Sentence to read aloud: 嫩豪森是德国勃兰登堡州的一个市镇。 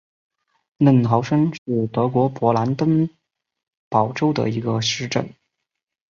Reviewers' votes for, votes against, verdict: 3, 1, accepted